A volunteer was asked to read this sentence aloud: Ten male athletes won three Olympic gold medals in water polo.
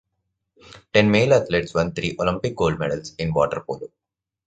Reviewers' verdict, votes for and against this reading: accepted, 2, 0